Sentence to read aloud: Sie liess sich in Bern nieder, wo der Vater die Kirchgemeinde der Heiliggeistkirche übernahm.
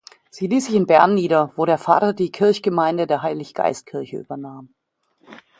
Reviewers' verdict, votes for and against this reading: accepted, 2, 0